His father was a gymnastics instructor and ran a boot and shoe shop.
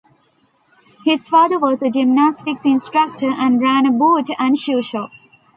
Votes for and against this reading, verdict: 2, 0, accepted